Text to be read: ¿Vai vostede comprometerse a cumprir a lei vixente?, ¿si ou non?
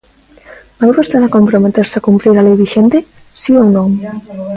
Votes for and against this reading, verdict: 0, 2, rejected